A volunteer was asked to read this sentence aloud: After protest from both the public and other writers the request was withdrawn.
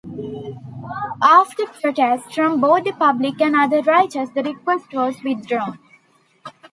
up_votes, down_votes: 0, 2